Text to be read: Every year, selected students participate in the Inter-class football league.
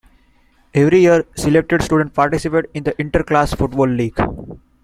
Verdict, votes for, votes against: accepted, 2, 0